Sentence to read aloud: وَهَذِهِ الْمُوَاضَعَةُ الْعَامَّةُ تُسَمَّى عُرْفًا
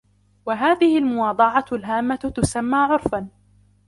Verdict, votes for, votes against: accepted, 2, 0